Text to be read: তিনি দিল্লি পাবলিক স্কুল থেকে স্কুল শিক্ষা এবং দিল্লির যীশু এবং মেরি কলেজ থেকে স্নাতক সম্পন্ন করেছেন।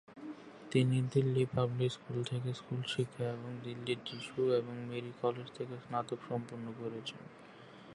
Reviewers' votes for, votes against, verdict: 0, 3, rejected